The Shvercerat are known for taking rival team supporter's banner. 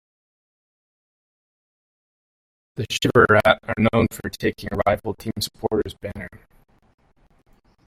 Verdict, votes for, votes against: rejected, 1, 2